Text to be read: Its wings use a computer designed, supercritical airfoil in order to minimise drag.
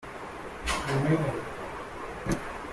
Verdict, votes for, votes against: rejected, 0, 2